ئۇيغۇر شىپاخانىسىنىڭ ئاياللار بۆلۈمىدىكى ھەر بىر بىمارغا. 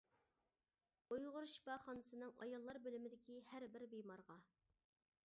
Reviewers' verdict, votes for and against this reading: accepted, 2, 0